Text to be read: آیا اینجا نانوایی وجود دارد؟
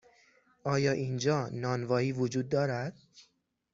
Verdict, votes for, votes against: accepted, 6, 0